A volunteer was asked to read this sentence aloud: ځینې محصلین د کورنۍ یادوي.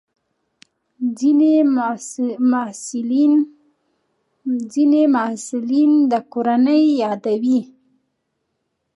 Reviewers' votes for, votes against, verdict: 0, 2, rejected